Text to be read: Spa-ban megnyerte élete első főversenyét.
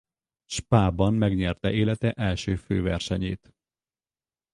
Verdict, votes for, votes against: rejected, 2, 2